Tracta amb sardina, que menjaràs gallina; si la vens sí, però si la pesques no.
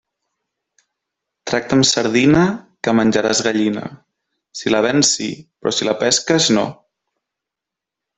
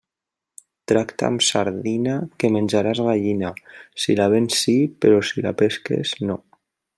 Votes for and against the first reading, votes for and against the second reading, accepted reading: 3, 0, 0, 2, first